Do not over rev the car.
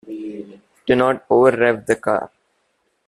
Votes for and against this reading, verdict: 0, 2, rejected